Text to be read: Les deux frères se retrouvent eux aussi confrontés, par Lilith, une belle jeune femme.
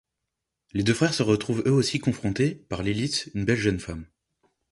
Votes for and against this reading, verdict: 2, 0, accepted